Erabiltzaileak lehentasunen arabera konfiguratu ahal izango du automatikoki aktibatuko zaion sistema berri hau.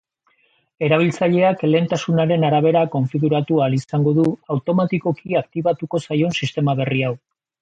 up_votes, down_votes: 2, 0